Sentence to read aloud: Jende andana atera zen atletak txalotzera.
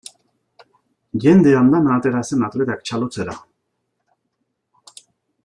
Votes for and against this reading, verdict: 2, 0, accepted